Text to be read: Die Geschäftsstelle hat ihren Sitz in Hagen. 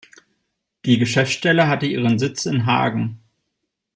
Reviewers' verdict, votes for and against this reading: rejected, 0, 2